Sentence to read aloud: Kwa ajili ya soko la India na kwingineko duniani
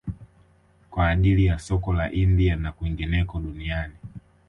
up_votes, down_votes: 2, 0